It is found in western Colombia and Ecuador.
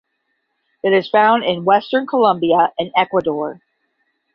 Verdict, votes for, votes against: accepted, 10, 0